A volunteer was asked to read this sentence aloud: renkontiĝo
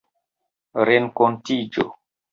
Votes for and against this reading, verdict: 2, 0, accepted